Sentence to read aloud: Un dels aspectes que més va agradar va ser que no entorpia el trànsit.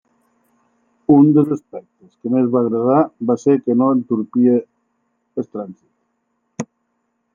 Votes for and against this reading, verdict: 1, 2, rejected